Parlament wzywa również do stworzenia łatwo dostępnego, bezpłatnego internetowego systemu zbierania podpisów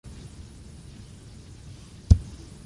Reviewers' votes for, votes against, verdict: 0, 2, rejected